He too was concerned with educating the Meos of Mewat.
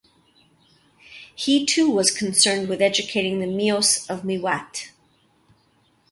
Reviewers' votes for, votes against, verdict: 2, 0, accepted